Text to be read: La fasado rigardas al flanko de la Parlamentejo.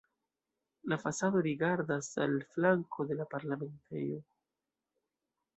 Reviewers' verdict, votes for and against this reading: rejected, 0, 2